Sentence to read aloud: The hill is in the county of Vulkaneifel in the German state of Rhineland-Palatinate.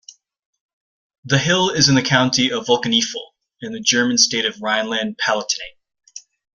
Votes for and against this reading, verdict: 2, 1, accepted